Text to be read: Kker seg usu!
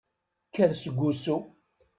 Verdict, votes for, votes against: accepted, 2, 0